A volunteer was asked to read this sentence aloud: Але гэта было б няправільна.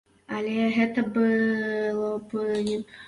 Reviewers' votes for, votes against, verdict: 0, 2, rejected